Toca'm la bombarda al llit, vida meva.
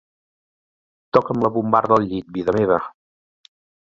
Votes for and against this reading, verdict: 2, 0, accepted